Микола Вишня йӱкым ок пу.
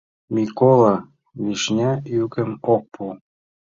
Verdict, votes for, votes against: accepted, 2, 0